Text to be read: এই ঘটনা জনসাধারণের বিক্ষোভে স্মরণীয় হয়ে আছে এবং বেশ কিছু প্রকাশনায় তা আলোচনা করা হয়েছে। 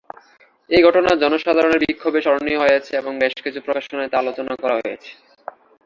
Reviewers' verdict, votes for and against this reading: accepted, 2, 1